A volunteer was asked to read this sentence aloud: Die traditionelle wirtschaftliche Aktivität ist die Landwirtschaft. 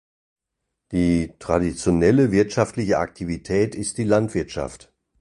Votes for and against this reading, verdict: 2, 0, accepted